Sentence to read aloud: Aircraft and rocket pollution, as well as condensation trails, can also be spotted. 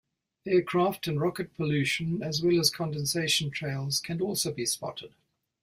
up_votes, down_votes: 2, 0